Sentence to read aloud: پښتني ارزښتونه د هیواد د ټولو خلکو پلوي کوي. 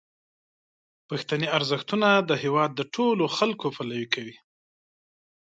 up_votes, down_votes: 2, 0